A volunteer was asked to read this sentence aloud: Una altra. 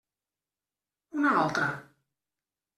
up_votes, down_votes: 0, 2